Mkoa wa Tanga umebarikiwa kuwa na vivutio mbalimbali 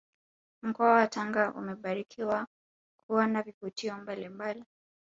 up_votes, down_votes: 2, 1